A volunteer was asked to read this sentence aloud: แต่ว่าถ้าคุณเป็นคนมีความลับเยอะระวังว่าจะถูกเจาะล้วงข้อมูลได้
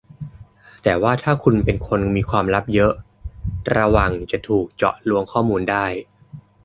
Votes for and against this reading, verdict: 0, 2, rejected